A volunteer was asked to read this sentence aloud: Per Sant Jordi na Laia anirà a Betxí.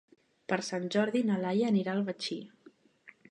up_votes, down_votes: 0, 2